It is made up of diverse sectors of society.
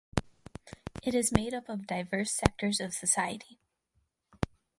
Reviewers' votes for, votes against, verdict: 4, 2, accepted